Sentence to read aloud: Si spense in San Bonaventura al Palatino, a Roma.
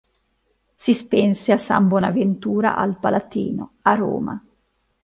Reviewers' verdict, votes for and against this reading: rejected, 1, 2